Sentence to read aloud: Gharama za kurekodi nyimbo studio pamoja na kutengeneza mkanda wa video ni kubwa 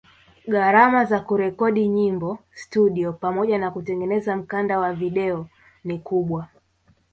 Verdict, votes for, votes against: accepted, 5, 0